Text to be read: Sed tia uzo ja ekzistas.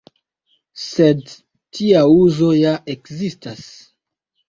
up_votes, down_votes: 2, 0